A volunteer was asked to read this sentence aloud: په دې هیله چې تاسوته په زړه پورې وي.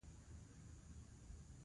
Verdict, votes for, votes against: rejected, 1, 2